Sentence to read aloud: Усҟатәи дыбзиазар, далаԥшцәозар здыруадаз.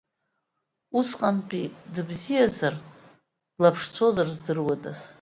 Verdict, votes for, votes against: rejected, 0, 2